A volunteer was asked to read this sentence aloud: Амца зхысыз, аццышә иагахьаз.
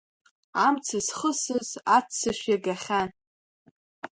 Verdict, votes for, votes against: rejected, 1, 2